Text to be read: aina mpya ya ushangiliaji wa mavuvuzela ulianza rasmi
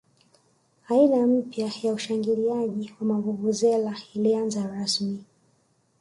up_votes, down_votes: 2, 0